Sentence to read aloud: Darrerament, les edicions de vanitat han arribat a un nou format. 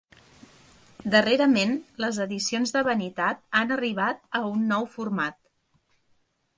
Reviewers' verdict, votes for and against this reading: accepted, 3, 0